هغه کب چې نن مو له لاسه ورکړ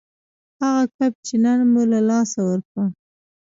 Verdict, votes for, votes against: rejected, 0, 2